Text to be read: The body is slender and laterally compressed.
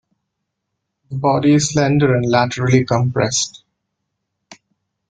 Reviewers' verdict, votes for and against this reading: accepted, 2, 0